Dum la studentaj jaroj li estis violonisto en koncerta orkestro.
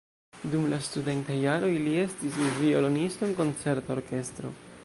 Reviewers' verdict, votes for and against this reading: rejected, 0, 2